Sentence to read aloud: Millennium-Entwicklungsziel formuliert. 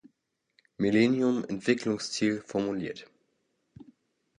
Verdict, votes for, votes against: accepted, 2, 0